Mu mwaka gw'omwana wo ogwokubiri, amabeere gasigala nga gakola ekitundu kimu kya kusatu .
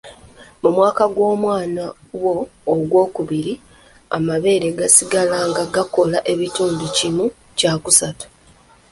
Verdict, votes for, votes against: rejected, 0, 2